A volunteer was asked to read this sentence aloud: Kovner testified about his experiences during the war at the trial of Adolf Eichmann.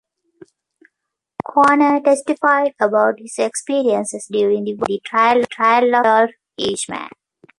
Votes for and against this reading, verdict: 0, 2, rejected